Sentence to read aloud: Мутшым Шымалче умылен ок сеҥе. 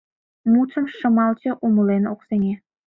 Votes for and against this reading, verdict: 2, 0, accepted